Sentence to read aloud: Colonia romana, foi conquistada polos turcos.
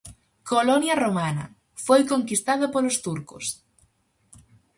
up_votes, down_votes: 4, 0